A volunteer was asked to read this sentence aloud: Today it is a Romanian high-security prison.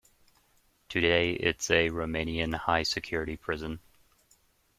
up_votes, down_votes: 1, 2